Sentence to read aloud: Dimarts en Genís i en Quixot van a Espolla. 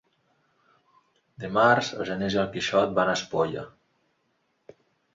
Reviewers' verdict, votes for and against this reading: accepted, 2, 0